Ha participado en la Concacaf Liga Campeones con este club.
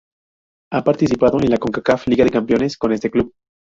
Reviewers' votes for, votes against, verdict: 0, 2, rejected